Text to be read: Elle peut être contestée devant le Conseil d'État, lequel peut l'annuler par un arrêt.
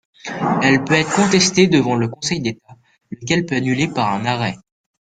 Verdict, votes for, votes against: accepted, 2, 1